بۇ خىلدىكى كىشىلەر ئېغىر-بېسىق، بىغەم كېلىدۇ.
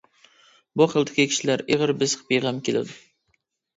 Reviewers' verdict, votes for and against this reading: accepted, 2, 0